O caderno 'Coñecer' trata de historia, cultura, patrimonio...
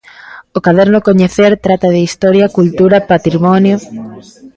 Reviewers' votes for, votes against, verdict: 2, 0, accepted